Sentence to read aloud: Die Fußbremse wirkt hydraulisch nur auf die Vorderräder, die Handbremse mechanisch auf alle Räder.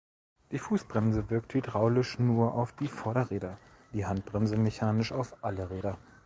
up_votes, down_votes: 2, 0